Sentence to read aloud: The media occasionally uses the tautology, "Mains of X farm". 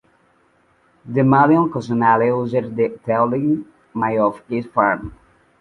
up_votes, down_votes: 1, 2